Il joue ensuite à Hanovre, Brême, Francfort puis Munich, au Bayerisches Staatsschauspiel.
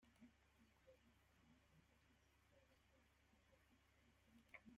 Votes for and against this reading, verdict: 0, 2, rejected